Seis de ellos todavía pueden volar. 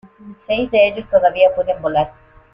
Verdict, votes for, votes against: accepted, 2, 1